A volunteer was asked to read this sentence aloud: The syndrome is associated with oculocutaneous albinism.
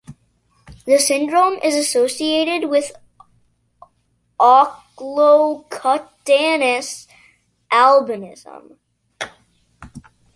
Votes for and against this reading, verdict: 1, 2, rejected